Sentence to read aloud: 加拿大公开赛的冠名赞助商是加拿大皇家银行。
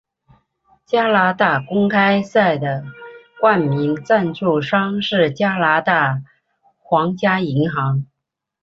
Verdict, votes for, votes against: accepted, 4, 0